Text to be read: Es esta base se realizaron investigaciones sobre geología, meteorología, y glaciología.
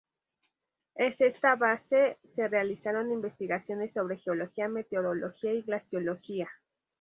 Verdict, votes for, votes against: rejected, 2, 2